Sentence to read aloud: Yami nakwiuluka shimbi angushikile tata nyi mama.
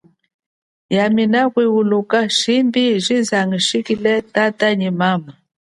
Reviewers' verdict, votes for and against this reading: accepted, 2, 0